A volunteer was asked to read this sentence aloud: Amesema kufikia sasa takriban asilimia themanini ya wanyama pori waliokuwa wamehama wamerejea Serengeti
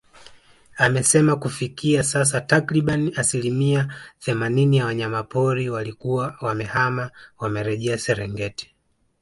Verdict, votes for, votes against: accepted, 2, 0